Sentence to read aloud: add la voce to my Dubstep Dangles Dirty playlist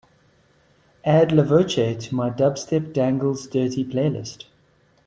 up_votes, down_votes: 3, 0